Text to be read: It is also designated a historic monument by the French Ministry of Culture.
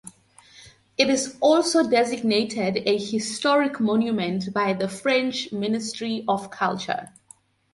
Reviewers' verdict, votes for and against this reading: accepted, 2, 0